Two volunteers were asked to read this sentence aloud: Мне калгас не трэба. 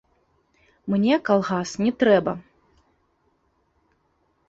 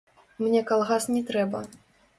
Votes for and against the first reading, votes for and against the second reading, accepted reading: 2, 0, 0, 2, first